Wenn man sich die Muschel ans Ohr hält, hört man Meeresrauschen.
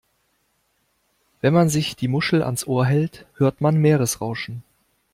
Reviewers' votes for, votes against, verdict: 2, 0, accepted